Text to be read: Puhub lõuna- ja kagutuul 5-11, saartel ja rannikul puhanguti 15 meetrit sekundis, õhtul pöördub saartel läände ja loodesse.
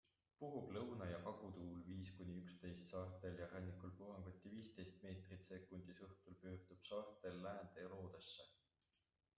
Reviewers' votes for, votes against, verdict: 0, 2, rejected